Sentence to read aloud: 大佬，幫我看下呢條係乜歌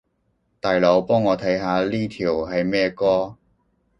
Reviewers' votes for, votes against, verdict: 1, 2, rejected